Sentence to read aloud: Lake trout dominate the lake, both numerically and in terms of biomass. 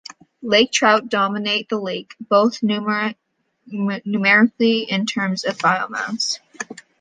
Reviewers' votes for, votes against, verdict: 1, 2, rejected